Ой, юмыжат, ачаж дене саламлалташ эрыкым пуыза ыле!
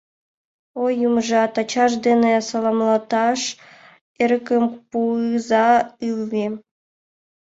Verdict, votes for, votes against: rejected, 1, 2